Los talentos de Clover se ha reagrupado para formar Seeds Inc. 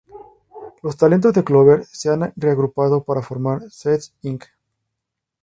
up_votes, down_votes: 2, 2